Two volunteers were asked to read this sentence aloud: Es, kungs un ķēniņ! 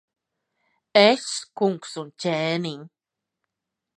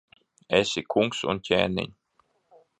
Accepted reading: first